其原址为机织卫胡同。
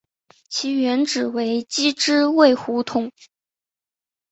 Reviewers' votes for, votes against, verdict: 2, 0, accepted